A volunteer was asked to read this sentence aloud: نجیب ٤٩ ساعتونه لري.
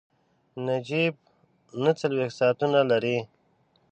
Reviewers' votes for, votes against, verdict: 0, 2, rejected